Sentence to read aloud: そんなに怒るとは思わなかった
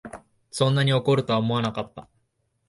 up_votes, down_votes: 2, 0